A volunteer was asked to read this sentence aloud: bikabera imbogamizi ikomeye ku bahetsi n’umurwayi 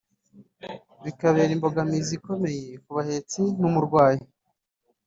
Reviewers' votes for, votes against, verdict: 1, 2, rejected